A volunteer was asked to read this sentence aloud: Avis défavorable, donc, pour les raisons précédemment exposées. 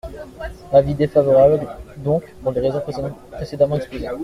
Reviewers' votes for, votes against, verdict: 1, 2, rejected